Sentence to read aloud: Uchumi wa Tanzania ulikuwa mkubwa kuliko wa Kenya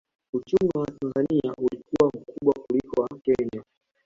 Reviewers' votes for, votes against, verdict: 2, 1, accepted